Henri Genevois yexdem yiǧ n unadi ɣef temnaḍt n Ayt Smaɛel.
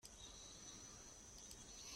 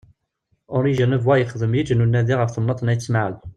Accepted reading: second